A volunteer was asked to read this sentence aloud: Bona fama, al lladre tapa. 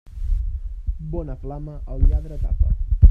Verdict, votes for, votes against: rejected, 0, 2